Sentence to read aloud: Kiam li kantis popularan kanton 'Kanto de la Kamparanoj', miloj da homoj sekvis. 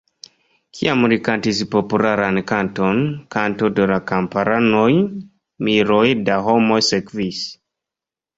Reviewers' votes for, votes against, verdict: 1, 2, rejected